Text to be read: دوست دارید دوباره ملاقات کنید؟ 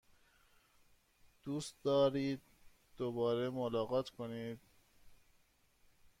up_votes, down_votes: 1, 2